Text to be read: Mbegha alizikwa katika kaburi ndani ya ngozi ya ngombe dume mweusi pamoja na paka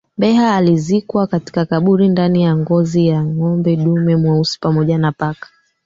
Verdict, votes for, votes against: rejected, 0, 2